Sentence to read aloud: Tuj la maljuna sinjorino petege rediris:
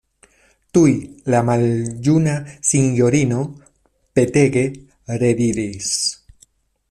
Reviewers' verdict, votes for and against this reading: accepted, 2, 0